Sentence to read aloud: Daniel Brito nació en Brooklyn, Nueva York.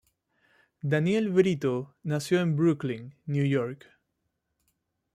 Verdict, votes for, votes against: rejected, 0, 2